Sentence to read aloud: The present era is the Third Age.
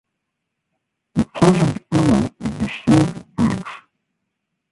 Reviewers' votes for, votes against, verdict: 0, 2, rejected